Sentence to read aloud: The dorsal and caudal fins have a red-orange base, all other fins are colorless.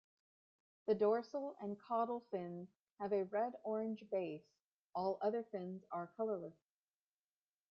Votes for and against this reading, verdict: 1, 2, rejected